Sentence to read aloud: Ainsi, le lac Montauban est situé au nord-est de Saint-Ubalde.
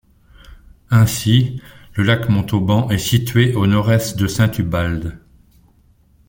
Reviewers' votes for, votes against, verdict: 2, 0, accepted